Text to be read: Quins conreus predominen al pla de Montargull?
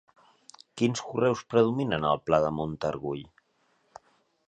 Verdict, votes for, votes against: accepted, 2, 1